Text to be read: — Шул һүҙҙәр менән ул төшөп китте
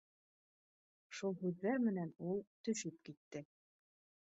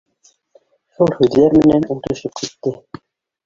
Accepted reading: first